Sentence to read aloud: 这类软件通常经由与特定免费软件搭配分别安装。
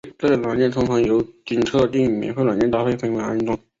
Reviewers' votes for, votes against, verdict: 3, 2, accepted